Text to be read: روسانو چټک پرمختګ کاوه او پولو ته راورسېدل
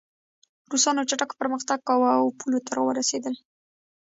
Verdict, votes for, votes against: rejected, 1, 2